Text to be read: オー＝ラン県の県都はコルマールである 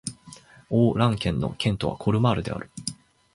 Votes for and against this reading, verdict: 6, 3, accepted